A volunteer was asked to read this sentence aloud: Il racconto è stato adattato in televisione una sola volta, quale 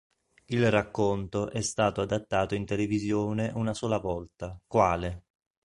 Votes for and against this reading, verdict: 2, 0, accepted